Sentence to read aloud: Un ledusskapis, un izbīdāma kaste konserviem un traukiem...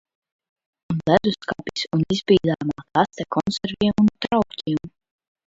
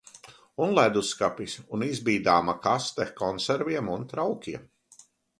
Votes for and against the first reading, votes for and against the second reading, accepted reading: 1, 2, 2, 1, second